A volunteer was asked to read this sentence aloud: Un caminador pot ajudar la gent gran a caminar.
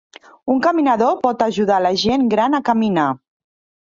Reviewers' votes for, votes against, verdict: 3, 0, accepted